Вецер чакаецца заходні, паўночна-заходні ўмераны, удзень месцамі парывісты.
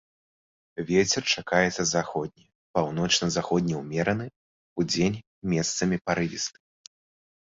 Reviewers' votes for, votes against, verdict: 2, 0, accepted